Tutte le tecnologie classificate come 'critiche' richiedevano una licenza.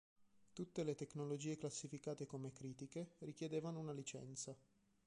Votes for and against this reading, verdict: 1, 3, rejected